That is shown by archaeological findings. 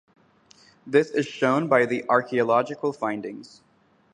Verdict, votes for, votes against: rejected, 0, 2